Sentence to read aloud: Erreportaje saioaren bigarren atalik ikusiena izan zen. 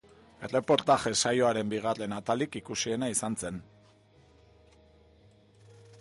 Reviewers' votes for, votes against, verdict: 1, 2, rejected